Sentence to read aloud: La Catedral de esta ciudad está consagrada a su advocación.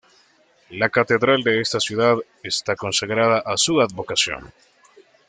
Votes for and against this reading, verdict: 2, 0, accepted